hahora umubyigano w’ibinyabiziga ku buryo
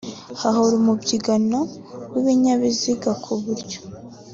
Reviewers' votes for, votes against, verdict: 2, 0, accepted